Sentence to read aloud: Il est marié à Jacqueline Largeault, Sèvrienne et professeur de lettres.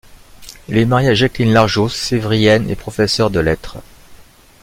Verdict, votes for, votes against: accepted, 3, 0